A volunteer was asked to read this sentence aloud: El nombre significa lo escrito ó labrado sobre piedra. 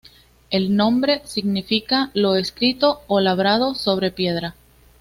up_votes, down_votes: 2, 0